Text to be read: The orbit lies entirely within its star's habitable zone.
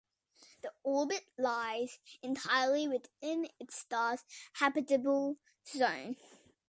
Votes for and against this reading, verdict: 2, 0, accepted